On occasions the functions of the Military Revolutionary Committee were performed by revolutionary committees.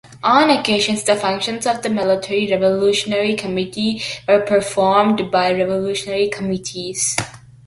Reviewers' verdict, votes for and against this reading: accepted, 2, 0